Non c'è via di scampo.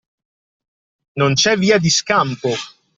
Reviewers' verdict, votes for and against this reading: accepted, 2, 0